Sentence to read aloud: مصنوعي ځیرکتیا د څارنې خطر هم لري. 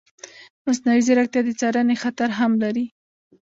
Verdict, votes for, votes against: accepted, 2, 1